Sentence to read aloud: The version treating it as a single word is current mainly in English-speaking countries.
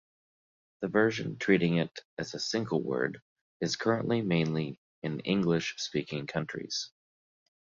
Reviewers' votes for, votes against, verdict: 1, 2, rejected